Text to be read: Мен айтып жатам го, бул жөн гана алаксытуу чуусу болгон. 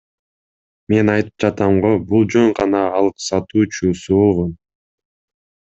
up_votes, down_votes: 0, 2